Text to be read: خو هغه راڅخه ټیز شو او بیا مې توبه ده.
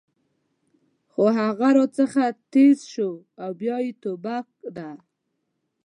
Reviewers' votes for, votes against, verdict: 0, 2, rejected